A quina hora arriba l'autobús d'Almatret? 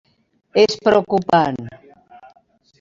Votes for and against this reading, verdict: 0, 2, rejected